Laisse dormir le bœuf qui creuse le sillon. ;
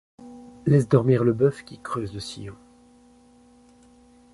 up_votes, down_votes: 2, 0